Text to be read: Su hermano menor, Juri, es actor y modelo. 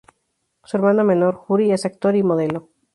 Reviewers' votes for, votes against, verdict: 4, 0, accepted